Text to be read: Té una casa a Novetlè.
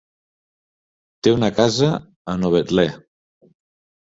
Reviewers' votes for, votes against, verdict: 2, 0, accepted